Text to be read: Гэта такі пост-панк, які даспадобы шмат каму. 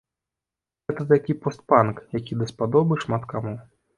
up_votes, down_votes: 2, 0